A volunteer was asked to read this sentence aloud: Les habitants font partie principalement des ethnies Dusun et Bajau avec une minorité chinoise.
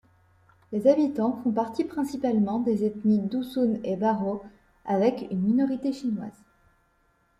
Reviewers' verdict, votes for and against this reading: accepted, 2, 0